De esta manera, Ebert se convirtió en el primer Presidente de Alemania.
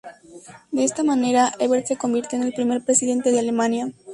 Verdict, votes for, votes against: accepted, 2, 0